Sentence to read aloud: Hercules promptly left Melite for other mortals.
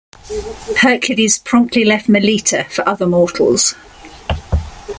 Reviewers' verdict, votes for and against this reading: accepted, 2, 0